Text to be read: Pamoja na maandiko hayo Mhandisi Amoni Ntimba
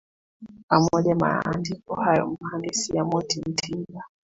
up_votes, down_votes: 0, 2